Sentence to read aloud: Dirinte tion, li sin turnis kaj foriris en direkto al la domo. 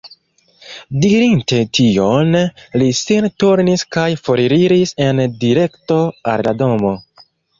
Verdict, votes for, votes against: rejected, 0, 2